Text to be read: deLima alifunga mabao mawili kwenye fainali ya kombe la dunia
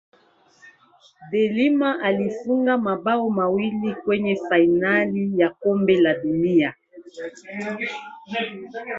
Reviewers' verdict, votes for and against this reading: rejected, 1, 2